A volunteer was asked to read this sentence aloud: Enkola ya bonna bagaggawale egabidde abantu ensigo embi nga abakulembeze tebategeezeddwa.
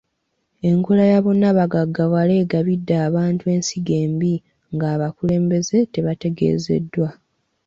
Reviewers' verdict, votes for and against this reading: accepted, 2, 0